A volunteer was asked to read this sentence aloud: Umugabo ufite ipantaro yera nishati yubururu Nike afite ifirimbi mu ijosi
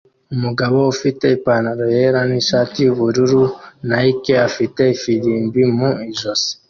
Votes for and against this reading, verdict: 2, 0, accepted